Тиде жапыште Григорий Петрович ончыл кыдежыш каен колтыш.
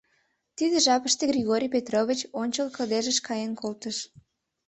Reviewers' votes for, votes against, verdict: 2, 0, accepted